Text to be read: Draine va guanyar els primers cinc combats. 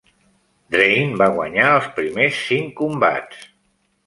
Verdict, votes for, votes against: accepted, 2, 0